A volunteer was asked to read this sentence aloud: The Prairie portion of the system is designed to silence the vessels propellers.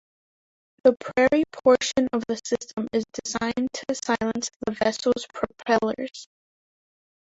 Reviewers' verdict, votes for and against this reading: rejected, 1, 2